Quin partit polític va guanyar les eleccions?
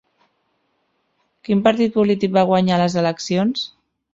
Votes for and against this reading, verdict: 3, 0, accepted